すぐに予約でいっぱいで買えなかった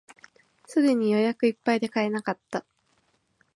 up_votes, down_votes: 2, 0